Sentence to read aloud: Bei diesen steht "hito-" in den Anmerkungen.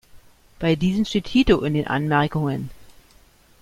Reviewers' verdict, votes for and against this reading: accepted, 2, 0